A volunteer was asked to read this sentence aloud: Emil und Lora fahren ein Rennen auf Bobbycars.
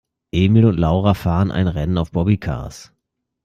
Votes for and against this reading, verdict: 0, 2, rejected